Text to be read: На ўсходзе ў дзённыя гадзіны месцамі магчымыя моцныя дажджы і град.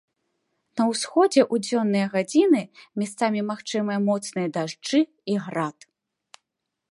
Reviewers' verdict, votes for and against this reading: rejected, 0, 2